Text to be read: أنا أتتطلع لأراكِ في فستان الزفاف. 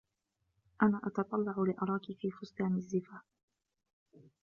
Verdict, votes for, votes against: accepted, 2, 0